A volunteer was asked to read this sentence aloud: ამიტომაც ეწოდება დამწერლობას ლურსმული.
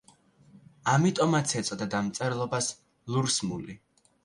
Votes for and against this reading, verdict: 2, 1, accepted